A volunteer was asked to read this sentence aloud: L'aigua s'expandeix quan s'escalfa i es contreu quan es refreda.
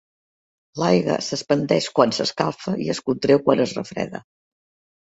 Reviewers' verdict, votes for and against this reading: rejected, 2, 3